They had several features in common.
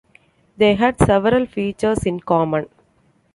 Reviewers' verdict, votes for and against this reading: accepted, 2, 0